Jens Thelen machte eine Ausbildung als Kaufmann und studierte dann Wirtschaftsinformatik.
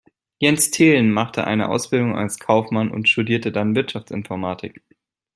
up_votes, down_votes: 2, 0